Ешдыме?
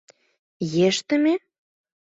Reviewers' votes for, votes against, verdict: 2, 0, accepted